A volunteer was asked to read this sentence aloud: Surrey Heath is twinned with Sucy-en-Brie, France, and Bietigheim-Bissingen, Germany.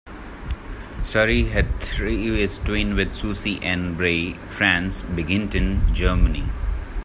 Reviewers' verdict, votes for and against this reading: rejected, 0, 2